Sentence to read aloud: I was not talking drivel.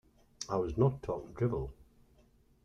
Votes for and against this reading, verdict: 1, 2, rejected